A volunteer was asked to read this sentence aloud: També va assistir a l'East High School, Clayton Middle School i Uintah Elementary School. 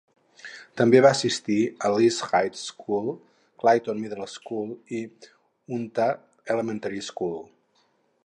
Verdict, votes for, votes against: rejected, 2, 2